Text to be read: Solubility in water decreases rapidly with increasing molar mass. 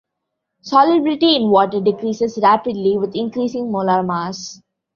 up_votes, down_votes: 2, 0